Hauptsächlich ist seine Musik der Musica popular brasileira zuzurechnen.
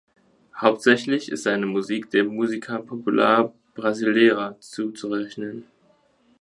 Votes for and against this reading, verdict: 2, 1, accepted